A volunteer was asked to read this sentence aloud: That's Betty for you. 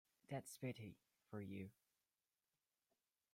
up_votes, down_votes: 2, 0